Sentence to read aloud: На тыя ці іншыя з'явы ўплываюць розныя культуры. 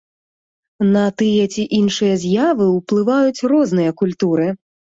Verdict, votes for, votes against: accepted, 2, 0